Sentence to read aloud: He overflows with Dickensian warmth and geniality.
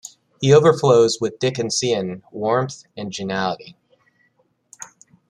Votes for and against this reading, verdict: 1, 2, rejected